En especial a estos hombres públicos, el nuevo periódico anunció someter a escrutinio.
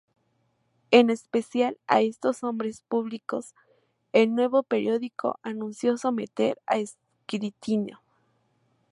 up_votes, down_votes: 2, 2